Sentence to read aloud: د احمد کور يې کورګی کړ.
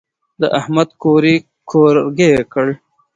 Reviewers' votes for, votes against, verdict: 1, 2, rejected